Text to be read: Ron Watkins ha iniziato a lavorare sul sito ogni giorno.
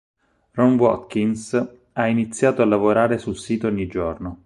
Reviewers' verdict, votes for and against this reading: accepted, 6, 0